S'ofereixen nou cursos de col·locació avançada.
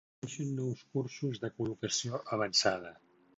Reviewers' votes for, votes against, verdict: 0, 2, rejected